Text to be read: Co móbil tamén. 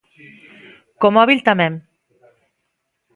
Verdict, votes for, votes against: accepted, 2, 0